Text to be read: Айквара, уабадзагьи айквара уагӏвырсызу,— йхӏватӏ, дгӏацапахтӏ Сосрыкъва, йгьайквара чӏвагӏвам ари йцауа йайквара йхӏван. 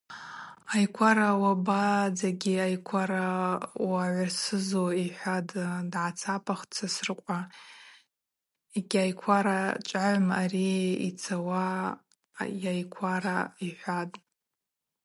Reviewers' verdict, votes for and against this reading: accepted, 4, 0